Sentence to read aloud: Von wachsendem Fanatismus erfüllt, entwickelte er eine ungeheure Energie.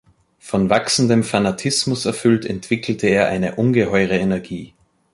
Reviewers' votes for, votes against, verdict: 3, 0, accepted